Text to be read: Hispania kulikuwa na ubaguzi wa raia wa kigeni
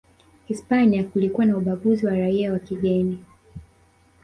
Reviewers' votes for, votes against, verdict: 1, 2, rejected